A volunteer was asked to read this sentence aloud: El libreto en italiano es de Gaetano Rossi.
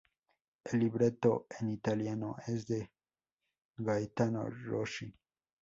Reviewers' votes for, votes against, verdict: 0, 4, rejected